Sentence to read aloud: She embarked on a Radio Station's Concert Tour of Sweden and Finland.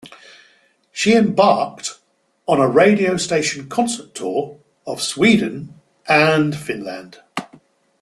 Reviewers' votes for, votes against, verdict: 2, 0, accepted